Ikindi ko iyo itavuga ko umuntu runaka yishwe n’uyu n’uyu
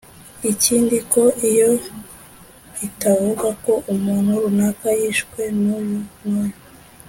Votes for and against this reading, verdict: 2, 0, accepted